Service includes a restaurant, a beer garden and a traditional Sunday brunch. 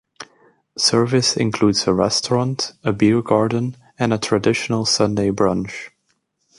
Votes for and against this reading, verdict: 2, 1, accepted